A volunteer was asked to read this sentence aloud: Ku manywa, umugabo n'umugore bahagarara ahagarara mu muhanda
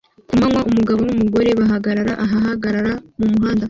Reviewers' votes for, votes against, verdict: 2, 0, accepted